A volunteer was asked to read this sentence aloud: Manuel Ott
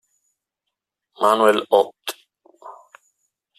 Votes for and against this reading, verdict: 0, 2, rejected